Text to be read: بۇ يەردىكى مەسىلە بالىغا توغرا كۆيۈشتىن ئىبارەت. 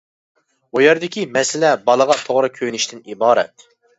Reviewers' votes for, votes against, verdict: 0, 2, rejected